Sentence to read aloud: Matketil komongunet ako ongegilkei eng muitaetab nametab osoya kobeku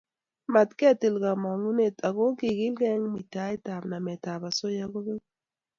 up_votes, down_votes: 2, 0